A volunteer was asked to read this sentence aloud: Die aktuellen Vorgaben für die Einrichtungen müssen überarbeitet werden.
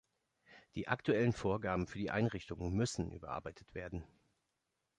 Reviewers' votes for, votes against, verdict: 2, 0, accepted